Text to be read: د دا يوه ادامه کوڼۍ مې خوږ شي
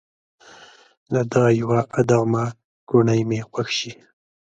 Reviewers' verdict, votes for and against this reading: rejected, 0, 2